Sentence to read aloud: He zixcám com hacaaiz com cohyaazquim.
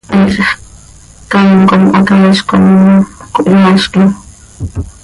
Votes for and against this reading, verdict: 1, 2, rejected